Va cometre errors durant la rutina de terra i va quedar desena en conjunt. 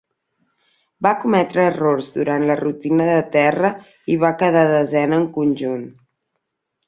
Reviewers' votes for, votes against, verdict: 2, 0, accepted